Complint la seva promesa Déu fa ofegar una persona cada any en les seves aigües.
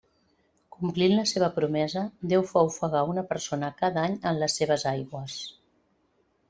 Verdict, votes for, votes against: accepted, 2, 0